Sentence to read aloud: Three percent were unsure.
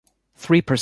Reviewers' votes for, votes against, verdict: 0, 2, rejected